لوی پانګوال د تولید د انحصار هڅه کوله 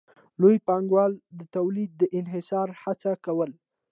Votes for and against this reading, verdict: 2, 0, accepted